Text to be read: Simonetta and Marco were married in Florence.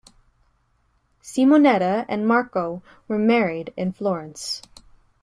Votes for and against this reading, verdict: 2, 0, accepted